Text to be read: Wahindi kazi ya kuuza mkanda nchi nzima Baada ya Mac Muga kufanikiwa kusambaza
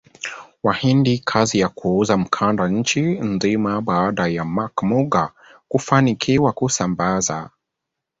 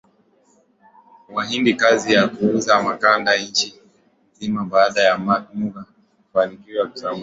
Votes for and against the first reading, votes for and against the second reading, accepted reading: 3, 1, 0, 2, first